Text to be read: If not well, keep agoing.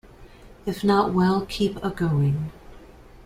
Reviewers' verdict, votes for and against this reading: accepted, 2, 0